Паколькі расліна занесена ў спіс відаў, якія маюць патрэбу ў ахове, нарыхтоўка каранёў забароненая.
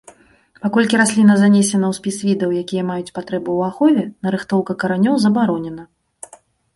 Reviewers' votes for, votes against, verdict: 0, 2, rejected